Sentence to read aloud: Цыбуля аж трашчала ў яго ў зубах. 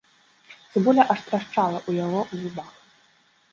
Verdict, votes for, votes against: rejected, 0, 2